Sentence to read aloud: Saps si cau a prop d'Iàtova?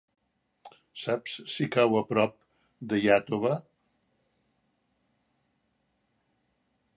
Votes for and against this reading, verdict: 3, 0, accepted